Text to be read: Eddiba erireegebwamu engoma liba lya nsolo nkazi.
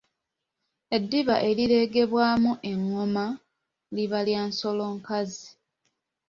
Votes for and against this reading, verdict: 2, 0, accepted